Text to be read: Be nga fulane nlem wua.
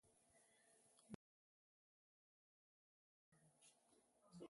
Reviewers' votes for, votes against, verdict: 0, 2, rejected